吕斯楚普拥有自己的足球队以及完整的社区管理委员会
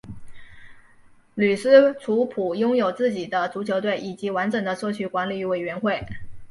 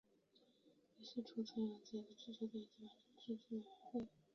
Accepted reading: first